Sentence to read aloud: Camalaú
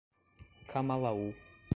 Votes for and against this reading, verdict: 2, 0, accepted